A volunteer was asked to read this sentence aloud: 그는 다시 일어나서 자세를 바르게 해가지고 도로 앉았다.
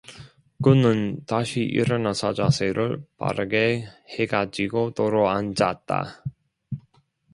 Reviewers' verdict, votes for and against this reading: accepted, 2, 0